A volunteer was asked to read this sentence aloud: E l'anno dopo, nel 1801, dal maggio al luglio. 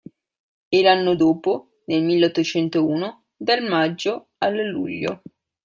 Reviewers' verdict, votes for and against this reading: rejected, 0, 2